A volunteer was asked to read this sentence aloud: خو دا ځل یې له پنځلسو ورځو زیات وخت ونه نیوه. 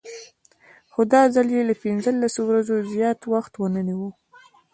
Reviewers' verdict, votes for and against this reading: accepted, 2, 1